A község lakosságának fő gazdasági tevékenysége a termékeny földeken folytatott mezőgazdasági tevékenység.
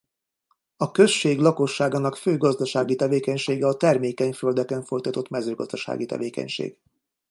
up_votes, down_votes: 2, 0